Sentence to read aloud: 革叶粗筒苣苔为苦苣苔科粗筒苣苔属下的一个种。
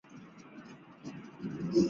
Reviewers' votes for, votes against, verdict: 1, 5, rejected